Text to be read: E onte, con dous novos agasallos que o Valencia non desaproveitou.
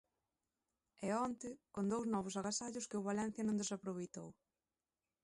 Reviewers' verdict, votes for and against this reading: accepted, 2, 0